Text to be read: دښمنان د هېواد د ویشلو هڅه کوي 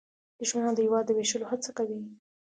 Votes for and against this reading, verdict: 2, 0, accepted